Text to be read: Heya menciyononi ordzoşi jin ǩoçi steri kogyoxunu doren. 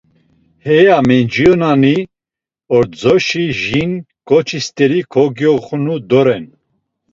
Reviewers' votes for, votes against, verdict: 1, 2, rejected